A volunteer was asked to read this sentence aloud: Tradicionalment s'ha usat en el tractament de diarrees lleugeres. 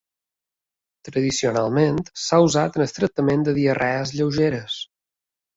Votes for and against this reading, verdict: 2, 0, accepted